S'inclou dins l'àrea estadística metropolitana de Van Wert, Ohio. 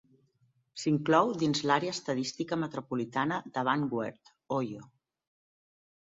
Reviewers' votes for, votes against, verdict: 2, 0, accepted